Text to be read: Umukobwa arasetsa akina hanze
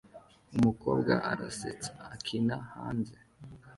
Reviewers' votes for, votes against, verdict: 2, 0, accepted